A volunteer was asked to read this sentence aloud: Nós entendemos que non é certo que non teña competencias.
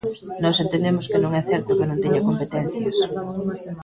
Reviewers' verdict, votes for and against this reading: rejected, 0, 2